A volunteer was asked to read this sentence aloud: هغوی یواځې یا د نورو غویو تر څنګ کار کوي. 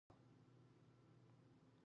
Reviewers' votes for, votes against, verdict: 1, 2, rejected